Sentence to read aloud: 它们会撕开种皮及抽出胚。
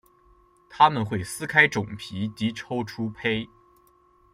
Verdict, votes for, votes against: accepted, 2, 0